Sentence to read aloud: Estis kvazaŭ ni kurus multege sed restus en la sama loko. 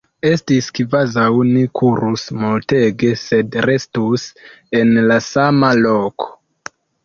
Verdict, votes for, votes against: rejected, 0, 2